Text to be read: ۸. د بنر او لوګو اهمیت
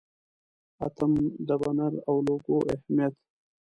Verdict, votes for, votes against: rejected, 0, 2